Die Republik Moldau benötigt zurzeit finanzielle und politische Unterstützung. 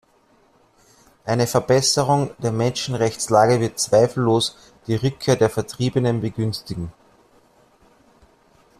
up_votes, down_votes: 1, 2